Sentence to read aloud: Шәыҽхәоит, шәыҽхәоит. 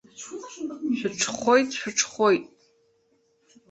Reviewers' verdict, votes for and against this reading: rejected, 1, 2